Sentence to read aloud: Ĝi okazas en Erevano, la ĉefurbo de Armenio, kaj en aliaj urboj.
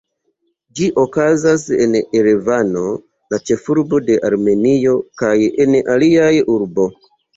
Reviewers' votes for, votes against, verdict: 1, 2, rejected